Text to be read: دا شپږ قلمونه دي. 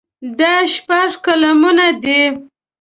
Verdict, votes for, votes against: accepted, 2, 0